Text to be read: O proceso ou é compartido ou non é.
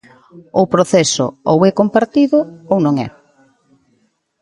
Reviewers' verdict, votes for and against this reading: rejected, 1, 2